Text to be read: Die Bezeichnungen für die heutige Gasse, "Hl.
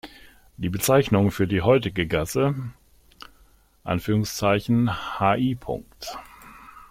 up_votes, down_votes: 1, 2